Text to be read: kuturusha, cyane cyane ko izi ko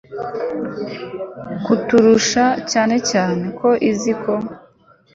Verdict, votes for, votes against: accepted, 2, 0